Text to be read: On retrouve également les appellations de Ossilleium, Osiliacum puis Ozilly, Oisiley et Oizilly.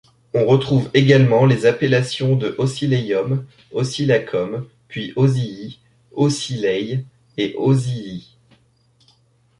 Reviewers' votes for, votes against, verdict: 1, 2, rejected